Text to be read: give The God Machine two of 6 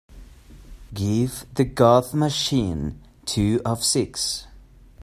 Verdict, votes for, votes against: rejected, 0, 2